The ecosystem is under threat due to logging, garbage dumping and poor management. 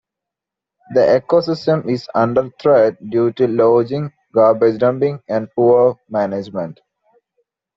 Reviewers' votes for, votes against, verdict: 0, 2, rejected